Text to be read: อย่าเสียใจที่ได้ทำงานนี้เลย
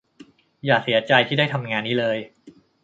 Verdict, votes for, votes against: accepted, 3, 0